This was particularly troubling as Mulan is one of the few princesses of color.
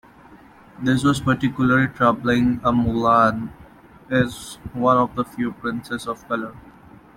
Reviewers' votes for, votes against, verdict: 0, 2, rejected